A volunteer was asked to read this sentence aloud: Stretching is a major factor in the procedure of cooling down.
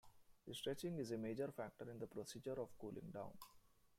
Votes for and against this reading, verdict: 1, 2, rejected